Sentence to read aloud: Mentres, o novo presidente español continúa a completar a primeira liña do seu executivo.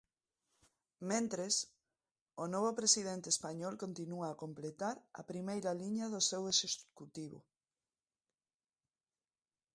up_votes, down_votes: 1, 2